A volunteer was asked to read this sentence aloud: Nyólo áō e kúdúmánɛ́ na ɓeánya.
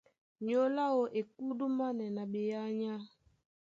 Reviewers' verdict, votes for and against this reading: accepted, 2, 0